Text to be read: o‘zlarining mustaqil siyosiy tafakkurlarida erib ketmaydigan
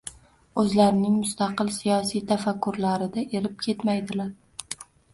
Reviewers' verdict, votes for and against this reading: rejected, 0, 2